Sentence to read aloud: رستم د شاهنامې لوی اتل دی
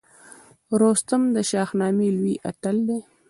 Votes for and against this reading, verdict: 2, 0, accepted